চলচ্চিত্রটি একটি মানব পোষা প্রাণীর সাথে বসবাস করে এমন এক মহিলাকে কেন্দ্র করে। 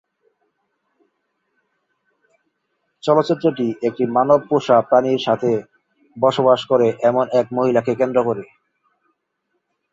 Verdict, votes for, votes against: rejected, 0, 2